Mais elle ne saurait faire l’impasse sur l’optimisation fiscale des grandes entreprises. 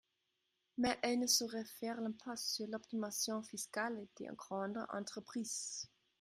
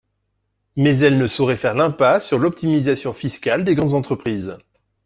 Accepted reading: second